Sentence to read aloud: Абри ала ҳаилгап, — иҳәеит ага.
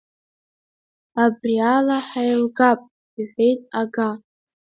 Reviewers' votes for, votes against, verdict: 2, 1, accepted